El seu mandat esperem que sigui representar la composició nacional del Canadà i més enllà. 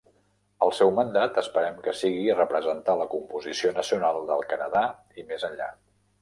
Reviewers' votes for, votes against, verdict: 2, 0, accepted